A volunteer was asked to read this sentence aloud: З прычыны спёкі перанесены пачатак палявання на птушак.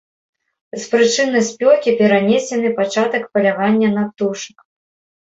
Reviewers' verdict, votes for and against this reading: accepted, 2, 0